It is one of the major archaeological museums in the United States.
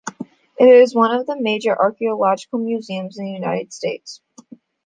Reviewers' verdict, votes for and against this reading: accepted, 2, 0